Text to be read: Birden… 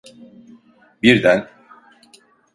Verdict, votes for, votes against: accepted, 2, 0